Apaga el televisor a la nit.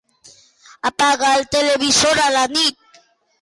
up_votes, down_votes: 2, 0